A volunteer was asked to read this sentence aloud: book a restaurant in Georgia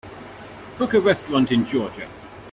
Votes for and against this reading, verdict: 2, 0, accepted